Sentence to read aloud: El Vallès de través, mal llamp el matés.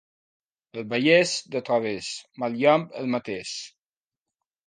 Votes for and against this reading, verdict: 2, 0, accepted